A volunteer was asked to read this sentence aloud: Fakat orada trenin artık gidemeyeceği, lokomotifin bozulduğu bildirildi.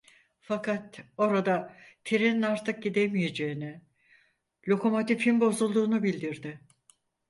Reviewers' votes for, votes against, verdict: 0, 4, rejected